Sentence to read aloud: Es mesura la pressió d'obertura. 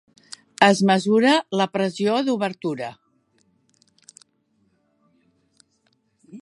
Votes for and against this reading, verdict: 3, 0, accepted